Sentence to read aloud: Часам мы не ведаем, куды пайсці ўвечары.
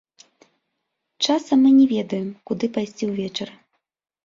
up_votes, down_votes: 2, 0